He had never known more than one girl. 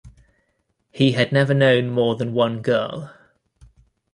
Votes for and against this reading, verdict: 2, 0, accepted